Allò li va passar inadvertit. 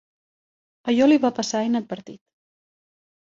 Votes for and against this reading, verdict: 2, 0, accepted